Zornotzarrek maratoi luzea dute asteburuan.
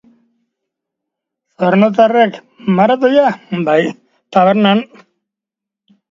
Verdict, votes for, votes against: rejected, 0, 2